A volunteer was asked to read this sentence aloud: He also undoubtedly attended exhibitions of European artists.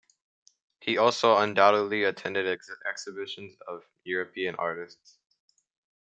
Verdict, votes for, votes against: rejected, 0, 2